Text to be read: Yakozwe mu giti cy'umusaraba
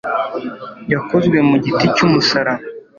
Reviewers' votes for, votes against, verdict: 2, 0, accepted